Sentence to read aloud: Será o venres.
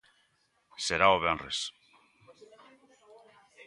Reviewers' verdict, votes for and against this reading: accepted, 2, 0